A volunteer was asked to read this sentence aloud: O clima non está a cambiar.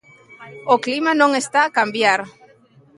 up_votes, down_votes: 2, 0